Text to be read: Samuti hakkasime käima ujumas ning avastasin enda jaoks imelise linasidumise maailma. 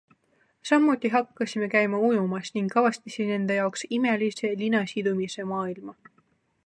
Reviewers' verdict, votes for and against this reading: accepted, 3, 2